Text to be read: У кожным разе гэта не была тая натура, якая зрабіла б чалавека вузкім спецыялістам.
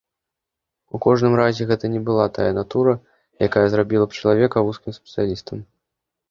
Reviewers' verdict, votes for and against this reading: accepted, 2, 0